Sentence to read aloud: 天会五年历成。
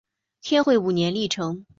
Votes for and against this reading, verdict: 2, 0, accepted